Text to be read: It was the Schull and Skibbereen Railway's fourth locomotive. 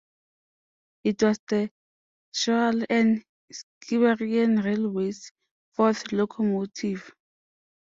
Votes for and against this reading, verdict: 0, 2, rejected